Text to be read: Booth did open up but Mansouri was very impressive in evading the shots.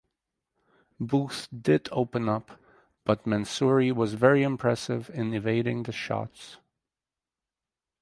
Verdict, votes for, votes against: accepted, 4, 0